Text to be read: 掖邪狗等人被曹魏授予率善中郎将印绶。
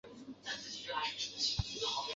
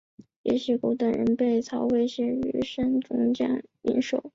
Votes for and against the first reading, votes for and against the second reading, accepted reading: 0, 2, 5, 0, second